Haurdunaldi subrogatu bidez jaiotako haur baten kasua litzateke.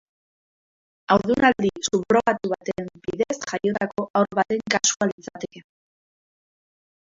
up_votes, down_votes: 0, 2